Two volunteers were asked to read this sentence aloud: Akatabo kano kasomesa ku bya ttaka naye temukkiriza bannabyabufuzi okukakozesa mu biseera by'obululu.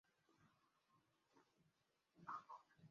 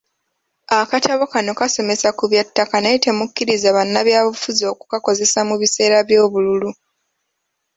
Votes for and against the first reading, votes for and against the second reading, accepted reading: 0, 2, 2, 0, second